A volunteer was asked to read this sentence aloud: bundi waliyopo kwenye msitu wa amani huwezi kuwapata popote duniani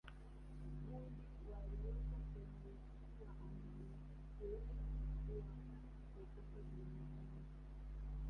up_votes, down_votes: 0, 2